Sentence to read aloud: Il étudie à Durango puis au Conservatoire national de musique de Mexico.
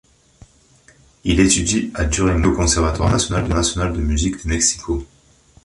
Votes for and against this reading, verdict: 0, 3, rejected